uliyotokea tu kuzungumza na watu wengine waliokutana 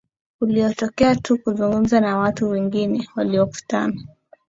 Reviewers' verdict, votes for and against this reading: accepted, 15, 0